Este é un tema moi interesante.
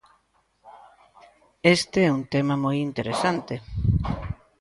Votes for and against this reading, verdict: 3, 0, accepted